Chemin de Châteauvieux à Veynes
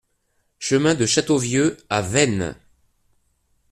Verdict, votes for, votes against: accepted, 2, 0